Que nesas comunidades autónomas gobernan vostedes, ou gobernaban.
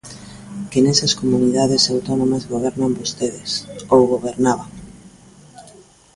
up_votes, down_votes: 2, 0